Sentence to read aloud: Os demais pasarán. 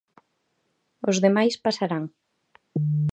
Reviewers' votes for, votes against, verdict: 2, 0, accepted